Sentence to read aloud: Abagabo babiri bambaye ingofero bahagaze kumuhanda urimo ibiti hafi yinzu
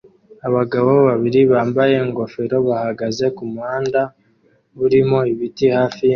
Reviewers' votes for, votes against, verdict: 0, 2, rejected